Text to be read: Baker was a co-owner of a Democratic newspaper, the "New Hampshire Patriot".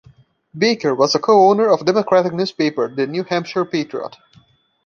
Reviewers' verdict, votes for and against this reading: accepted, 2, 0